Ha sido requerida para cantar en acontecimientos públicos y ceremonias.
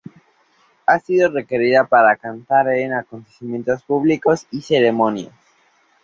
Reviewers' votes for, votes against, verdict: 2, 0, accepted